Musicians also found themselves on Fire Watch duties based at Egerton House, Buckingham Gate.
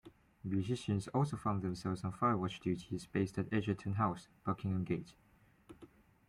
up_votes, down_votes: 2, 1